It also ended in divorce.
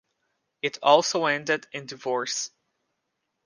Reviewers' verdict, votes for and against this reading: accepted, 2, 0